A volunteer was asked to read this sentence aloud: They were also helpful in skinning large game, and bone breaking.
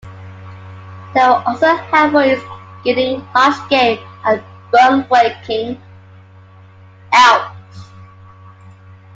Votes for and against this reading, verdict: 0, 2, rejected